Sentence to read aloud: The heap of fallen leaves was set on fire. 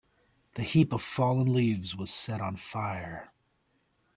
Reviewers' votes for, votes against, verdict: 2, 0, accepted